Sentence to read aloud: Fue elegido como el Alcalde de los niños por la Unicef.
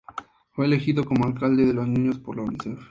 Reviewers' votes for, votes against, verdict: 2, 0, accepted